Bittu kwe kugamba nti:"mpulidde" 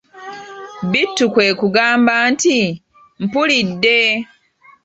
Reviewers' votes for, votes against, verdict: 1, 2, rejected